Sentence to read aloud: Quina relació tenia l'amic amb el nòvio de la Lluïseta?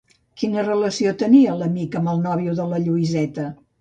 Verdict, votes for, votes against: accepted, 2, 0